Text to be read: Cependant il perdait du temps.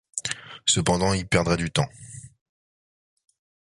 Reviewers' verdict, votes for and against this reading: rejected, 1, 2